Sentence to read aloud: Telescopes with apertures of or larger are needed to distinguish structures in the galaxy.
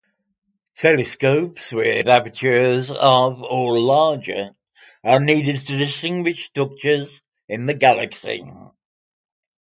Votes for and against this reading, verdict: 2, 0, accepted